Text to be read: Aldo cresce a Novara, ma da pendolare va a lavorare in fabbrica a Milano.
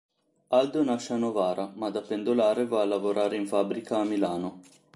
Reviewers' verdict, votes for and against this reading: rejected, 0, 2